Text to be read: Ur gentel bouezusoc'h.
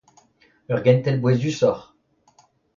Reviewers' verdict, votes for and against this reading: accepted, 2, 0